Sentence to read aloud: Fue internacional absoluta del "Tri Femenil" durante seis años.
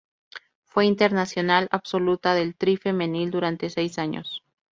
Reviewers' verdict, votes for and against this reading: accepted, 2, 0